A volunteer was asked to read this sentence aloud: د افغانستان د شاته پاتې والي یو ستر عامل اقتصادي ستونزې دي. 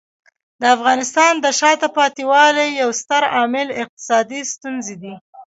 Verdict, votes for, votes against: rejected, 1, 2